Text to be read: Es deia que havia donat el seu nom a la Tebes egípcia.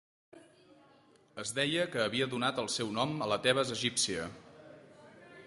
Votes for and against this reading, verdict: 2, 0, accepted